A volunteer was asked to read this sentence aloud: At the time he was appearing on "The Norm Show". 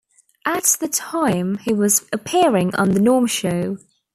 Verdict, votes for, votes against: accepted, 2, 1